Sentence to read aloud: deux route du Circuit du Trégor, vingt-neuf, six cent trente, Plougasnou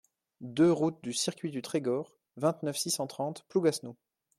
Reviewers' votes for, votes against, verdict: 2, 0, accepted